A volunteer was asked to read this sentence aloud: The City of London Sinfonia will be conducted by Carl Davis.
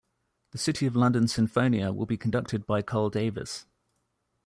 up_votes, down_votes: 2, 0